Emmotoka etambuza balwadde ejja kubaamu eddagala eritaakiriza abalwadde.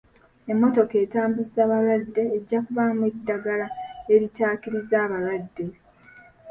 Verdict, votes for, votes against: rejected, 1, 2